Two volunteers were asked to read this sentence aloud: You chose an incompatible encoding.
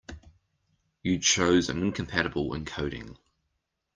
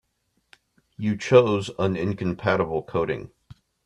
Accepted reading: first